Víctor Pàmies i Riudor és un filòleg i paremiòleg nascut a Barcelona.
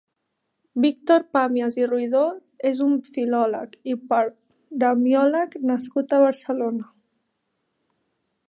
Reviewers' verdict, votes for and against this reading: rejected, 0, 2